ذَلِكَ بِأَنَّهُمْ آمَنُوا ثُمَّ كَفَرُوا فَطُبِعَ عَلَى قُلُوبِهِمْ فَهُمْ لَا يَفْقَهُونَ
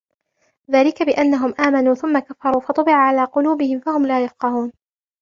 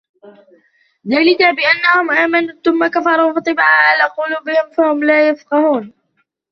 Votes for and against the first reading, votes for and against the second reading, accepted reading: 2, 0, 1, 2, first